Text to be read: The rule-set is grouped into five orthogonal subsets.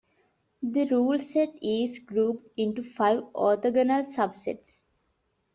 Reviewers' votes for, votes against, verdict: 2, 0, accepted